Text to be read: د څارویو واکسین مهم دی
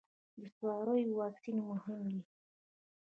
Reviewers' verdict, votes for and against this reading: rejected, 0, 2